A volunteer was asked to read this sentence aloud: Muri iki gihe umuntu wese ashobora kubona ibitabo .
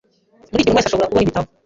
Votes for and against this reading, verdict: 0, 2, rejected